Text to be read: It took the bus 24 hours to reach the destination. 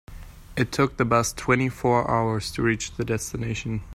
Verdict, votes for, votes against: rejected, 0, 2